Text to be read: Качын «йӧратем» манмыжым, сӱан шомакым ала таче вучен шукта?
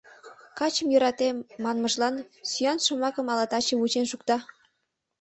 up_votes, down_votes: 0, 2